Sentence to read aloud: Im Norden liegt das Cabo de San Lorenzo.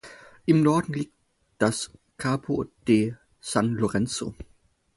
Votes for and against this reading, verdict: 2, 4, rejected